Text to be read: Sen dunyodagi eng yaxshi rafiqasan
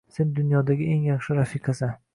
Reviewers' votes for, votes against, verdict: 2, 1, accepted